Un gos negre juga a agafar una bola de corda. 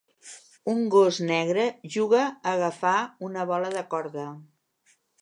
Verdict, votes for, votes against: accepted, 2, 0